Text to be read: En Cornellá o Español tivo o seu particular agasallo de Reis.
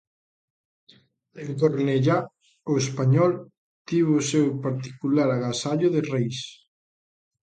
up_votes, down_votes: 3, 0